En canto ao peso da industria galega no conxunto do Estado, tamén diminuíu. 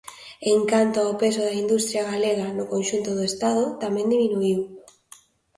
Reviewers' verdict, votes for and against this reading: accepted, 2, 0